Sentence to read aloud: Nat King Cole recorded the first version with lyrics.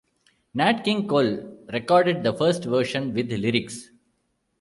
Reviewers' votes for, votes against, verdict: 2, 0, accepted